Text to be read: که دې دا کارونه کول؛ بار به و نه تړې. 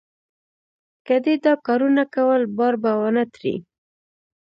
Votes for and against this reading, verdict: 2, 1, accepted